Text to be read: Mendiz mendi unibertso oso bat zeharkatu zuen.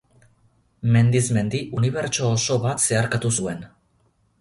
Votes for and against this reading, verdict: 6, 0, accepted